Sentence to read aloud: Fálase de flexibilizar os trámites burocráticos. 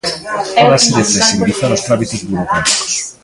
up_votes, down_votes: 0, 2